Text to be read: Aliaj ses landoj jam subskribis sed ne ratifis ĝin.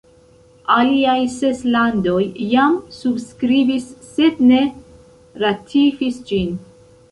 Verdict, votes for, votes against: accepted, 3, 0